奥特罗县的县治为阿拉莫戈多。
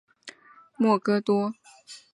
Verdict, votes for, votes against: accepted, 4, 1